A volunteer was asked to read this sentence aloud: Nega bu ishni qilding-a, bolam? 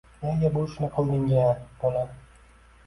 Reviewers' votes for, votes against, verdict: 2, 0, accepted